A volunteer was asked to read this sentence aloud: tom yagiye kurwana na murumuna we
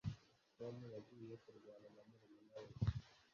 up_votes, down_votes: 0, 2